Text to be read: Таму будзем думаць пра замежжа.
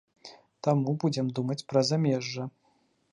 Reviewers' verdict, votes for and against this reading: accepted, 2, 0